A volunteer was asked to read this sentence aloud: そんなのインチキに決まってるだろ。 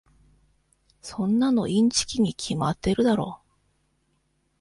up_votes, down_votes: 2, 0